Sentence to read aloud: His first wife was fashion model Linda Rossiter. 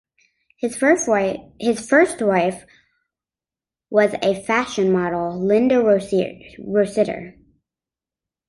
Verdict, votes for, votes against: rejected, 0, 2